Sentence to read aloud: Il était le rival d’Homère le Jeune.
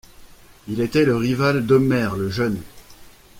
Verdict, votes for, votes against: accepted, 2, 0